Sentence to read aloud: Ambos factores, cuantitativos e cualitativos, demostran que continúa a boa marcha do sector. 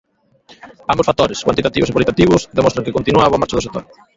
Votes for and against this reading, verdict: 0, 2, rejected